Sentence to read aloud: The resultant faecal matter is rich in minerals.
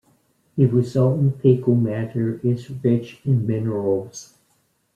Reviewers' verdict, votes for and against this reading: accepted, 2, 0